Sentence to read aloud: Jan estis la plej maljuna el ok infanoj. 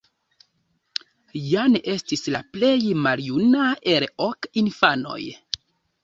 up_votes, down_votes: 2, 0